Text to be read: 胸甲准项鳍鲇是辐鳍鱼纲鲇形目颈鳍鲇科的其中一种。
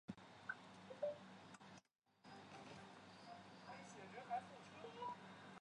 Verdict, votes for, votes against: rejected, 0, 2